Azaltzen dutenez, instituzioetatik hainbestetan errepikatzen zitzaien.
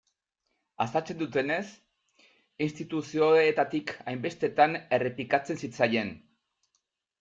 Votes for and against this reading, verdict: 0, 2, rejected